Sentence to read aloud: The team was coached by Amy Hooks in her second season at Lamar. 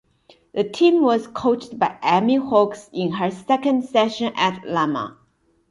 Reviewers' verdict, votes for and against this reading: rejected, 1, 2